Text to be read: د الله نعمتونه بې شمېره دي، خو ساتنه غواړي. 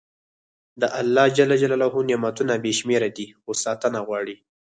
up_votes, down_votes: 4, 0